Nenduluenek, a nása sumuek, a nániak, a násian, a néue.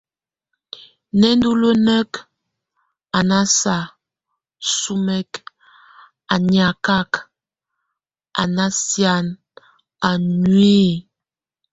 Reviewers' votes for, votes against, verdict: 2, 1, accepted